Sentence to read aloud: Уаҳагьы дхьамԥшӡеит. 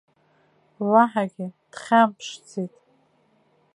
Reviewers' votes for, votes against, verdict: 3, 2, accepted